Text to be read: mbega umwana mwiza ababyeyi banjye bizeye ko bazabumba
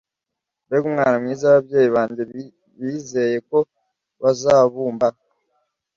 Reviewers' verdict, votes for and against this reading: rejected, 1, 2